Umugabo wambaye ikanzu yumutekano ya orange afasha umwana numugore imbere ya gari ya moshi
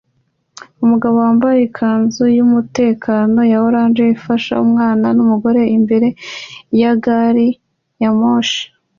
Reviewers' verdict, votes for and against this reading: accepted, 2, 0